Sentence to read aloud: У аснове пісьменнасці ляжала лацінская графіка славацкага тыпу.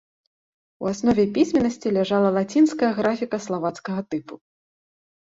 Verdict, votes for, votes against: rejected, 1, 2